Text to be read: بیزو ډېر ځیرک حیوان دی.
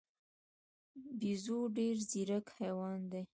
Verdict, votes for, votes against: rejected, 1, 2